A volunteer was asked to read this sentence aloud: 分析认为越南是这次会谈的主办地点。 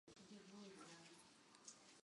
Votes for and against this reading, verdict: 0, 3, rejected